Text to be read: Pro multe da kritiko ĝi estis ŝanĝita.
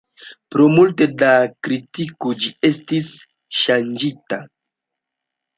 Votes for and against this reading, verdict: 2, 0, accepted